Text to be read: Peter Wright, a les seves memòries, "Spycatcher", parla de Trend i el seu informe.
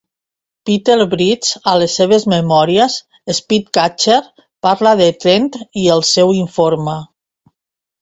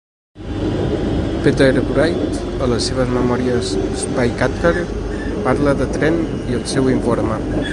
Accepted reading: first